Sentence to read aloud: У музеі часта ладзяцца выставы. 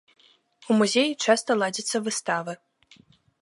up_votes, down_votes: 2, 0